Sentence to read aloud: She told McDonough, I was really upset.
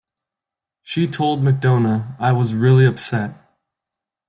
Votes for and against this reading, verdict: 1, 2, rejected